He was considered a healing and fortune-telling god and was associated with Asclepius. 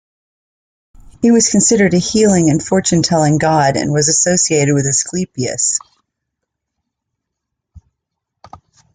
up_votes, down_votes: 2, 0